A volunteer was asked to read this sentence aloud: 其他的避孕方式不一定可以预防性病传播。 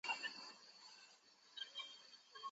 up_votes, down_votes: 0, 3